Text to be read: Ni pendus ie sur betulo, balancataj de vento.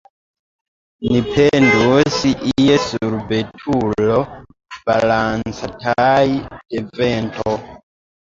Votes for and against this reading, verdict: 0, 2, rejected